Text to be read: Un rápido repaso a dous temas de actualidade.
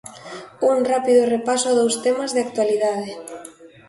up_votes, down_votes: 2, 0